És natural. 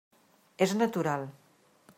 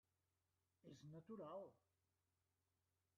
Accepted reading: first